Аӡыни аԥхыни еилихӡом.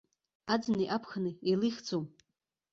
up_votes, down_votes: 2, 0